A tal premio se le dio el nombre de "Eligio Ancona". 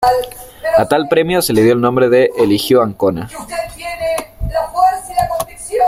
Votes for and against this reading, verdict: 2, 1, accepted